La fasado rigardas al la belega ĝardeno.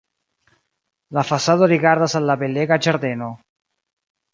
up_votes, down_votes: 1, 2